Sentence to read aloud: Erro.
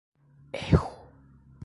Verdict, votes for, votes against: rejected, 1, 2